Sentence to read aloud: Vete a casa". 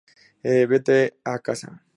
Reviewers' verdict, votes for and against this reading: rejected, 0, 2